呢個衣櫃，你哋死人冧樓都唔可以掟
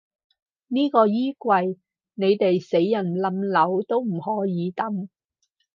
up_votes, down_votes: 2, 4